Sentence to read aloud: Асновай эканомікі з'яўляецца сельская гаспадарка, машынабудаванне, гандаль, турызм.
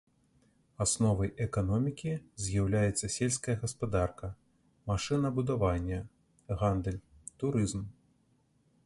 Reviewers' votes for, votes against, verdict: 2, 0, accepted